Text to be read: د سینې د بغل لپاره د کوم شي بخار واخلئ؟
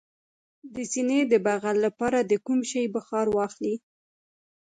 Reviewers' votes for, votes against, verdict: 1, 2, rejected